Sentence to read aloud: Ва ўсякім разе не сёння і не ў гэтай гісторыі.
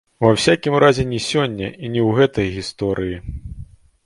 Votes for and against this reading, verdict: 2, 0, accepted